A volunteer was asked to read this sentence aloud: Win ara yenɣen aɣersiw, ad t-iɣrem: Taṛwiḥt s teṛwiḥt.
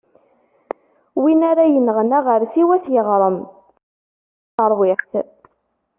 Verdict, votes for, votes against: rejected, 0, 2